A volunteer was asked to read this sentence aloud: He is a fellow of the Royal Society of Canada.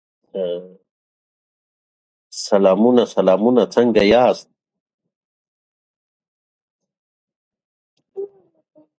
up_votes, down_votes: 0, 2